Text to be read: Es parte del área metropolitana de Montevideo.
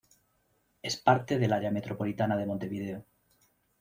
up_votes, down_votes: 2, 0